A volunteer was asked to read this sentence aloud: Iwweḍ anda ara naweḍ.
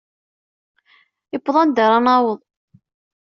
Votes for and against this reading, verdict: 2, 0, accepted